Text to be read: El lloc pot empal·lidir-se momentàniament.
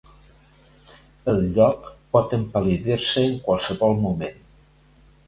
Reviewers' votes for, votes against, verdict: 1, 2, rejected